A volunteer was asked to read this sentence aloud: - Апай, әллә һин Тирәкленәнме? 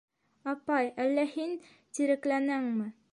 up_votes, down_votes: 1, 2